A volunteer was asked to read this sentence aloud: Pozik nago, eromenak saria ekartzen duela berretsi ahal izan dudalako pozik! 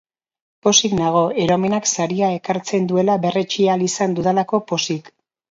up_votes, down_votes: 2, 0